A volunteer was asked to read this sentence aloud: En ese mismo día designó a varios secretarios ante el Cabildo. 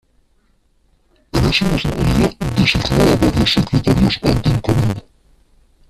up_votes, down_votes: 0, 2